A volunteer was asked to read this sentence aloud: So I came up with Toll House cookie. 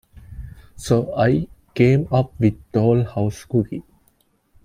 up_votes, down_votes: 2, 1